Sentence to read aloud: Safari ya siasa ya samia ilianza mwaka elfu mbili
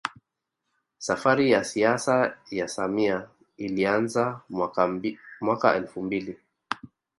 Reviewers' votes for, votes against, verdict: 1, 2, rejected